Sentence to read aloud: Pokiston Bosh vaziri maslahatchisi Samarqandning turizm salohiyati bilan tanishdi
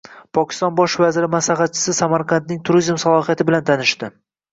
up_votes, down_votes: 2, 0